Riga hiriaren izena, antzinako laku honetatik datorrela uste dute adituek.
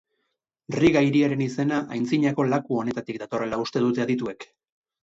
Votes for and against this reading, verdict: 2, 4, rejected